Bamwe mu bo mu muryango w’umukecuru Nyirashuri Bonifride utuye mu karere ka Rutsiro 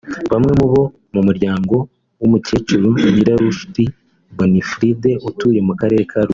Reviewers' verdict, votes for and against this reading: rejected, 0, 2